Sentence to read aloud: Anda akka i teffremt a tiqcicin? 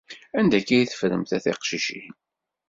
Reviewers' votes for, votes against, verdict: 2, 0, accepted